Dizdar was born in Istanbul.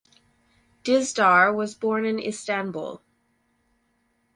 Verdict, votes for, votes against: accepted, 4, 0